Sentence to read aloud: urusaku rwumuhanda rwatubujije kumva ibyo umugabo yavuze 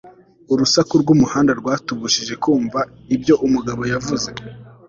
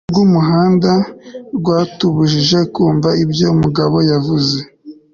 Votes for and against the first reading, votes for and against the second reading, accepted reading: 2, 0, 0, 2, first